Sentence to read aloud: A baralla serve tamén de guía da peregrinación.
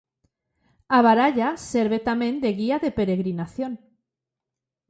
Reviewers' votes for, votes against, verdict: 1, 2, rejected